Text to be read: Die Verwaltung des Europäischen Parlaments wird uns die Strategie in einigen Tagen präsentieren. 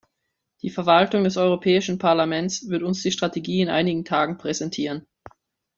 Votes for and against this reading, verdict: 2, 1, accepted